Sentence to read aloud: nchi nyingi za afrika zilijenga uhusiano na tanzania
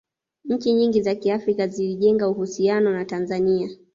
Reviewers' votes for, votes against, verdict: 1, 2, rejected